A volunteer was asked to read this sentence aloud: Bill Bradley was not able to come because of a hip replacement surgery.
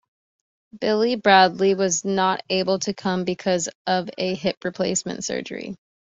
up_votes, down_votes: 1, 2